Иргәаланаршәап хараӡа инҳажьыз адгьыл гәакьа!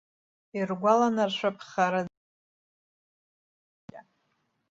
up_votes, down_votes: 0, 2